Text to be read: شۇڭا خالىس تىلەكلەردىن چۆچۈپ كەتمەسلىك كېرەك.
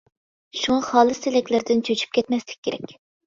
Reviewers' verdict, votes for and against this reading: accepted, 2, 0